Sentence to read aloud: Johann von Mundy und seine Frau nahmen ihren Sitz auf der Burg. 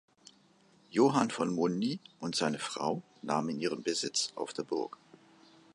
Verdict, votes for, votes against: rejected, 0, 2